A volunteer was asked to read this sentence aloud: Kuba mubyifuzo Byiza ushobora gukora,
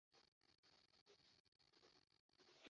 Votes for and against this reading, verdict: 0, 2, rejected